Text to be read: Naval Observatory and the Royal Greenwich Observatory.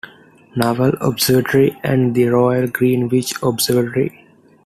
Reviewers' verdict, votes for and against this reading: accepted, 2, 0